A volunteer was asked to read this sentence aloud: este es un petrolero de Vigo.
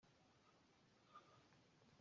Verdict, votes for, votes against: rejected, 0, 2